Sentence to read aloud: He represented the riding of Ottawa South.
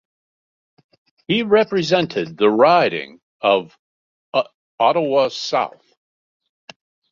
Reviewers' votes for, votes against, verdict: 1, 2, rejected